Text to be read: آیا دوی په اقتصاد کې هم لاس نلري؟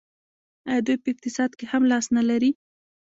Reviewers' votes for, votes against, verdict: 2, 1, accepted